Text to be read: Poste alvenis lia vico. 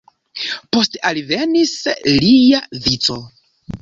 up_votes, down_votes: 2, 0